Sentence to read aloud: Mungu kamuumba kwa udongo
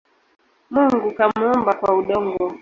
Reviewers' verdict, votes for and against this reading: rejected, 1, 2